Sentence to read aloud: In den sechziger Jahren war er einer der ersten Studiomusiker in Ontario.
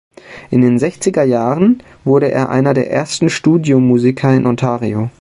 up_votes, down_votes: 0, 2